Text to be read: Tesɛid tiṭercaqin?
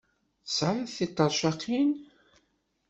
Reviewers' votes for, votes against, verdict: 2, 1, accepted